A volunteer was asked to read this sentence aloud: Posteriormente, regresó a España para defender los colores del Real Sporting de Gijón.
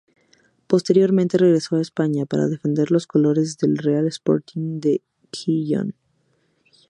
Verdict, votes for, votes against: rejected, 0, 2